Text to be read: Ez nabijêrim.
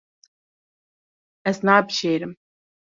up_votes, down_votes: 3, 0